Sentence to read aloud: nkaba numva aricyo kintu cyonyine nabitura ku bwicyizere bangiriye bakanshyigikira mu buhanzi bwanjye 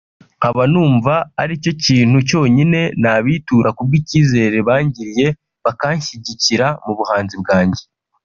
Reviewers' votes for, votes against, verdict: 1, 2, rejected